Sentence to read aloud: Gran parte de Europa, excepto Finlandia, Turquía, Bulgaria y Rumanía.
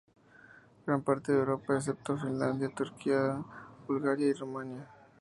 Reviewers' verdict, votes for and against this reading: accepted, 2, 0